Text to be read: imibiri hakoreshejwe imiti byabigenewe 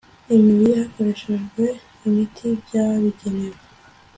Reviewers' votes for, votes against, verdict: 2, 0, accepted